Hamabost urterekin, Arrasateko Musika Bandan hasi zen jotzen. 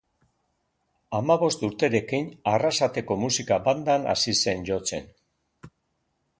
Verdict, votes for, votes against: accepted, 2, 0